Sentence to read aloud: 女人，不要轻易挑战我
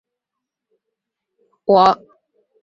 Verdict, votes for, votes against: rejected, 0, 2